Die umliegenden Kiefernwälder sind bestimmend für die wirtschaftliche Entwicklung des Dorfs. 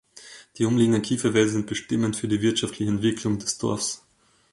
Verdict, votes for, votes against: accepted, 2, 1